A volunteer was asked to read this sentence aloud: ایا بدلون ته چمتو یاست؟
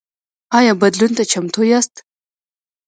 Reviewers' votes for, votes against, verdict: 0, 2, rejected